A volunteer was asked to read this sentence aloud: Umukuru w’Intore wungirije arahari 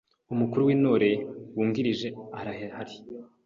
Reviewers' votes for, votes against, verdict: 1, 2, rejected